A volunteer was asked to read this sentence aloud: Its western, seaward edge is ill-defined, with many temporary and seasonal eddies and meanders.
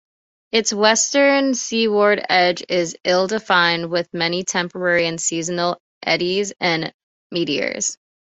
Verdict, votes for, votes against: rejected, 1, 2